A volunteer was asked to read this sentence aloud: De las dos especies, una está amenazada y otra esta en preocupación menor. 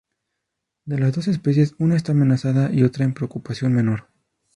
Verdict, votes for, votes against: rejected, 0, 2